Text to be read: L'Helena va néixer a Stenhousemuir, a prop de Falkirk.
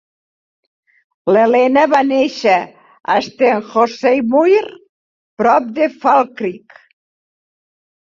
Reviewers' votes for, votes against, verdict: 0, 4, rejected